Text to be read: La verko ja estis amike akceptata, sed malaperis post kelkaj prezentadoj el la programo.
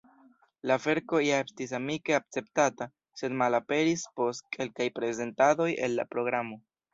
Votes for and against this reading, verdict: 2, 0, accepted